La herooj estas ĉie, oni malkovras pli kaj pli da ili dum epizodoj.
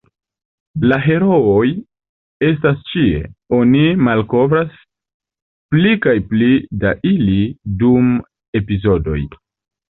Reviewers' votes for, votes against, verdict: 3, 2, accepted